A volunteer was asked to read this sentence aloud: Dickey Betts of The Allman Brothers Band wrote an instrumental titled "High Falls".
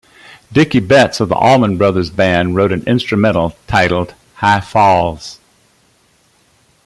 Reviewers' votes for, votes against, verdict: 2, 0, accepted